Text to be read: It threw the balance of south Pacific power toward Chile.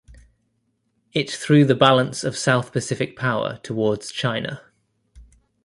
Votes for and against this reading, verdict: 0, 2, rejected